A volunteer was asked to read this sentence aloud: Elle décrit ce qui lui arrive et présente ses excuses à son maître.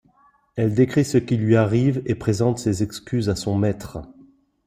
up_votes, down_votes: 2, 0